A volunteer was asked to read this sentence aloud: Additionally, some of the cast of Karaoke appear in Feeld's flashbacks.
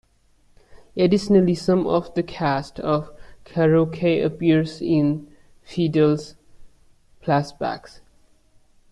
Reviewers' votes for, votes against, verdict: 1, 2, rejected